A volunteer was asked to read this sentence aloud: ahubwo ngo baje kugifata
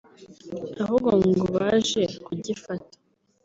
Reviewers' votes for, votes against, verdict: 2, 0, accepted